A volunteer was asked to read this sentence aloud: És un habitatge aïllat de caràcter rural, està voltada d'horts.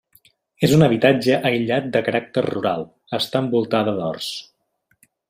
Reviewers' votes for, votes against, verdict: 1, 2, rejected